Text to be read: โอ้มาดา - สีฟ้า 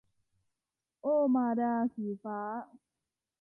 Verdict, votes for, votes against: accepted, 2, 0